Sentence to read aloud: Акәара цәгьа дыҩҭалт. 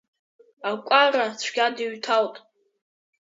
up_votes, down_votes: 2, 1